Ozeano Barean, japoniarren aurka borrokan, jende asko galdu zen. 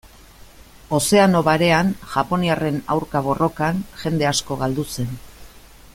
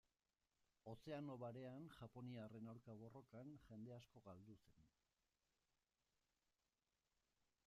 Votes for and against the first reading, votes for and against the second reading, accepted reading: 3, 0, 0, 2, first